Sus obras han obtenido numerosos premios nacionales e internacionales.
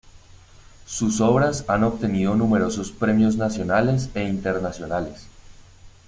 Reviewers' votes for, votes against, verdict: 1, 2, rejected